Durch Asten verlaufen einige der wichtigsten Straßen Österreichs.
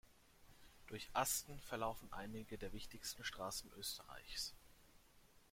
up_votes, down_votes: 2, 0